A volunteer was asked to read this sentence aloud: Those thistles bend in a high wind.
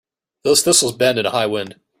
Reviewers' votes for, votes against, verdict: 2, 0, accepted